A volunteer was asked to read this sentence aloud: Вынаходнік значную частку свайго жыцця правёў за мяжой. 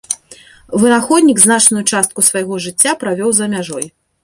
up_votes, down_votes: 2, 0